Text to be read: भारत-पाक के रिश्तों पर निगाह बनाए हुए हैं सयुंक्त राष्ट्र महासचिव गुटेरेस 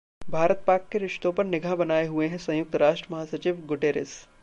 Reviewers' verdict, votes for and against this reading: accepted, 2, 0